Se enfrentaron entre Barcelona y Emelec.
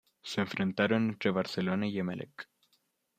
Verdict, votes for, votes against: accepted, 2, 0